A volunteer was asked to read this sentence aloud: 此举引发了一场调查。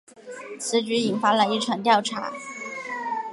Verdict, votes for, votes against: accepted, 2, 0